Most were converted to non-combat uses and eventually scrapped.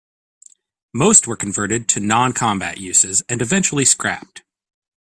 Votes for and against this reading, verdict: 2, 1, accepted